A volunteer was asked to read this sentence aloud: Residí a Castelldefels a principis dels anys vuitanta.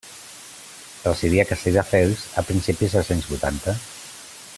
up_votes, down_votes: 2, 0